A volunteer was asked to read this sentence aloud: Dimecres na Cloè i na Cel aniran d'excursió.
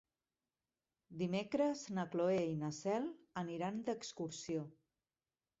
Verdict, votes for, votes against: accepted, 3, 1